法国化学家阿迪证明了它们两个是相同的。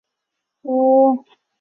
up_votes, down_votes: 0, 5